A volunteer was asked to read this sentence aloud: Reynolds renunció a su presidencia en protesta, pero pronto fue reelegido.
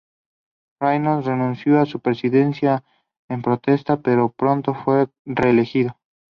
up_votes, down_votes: 0, 2